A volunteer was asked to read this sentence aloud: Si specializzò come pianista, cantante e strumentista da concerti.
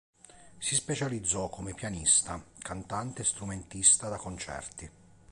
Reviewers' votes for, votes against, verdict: 2, 0, accepted